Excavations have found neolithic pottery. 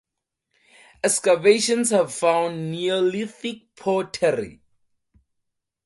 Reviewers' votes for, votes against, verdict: 4, 0, accepted